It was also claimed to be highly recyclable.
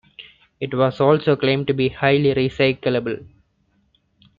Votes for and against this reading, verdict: 2, 0, accepted